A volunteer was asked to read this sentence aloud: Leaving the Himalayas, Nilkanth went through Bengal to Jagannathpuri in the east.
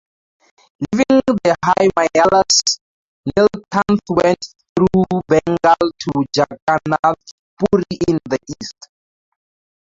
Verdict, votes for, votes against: rejected, 0, 2